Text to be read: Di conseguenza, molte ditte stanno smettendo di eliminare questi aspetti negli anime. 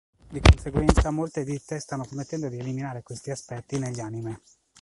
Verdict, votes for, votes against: rejected, 0, 2